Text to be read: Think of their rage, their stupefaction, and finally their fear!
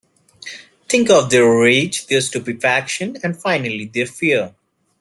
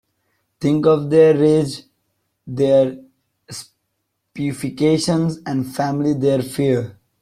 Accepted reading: first